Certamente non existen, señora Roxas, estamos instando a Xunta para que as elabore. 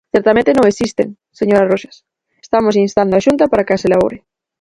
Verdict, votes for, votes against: rejected, 0, 4